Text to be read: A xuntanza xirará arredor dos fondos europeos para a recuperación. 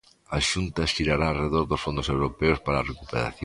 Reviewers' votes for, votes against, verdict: 0, 2, rejected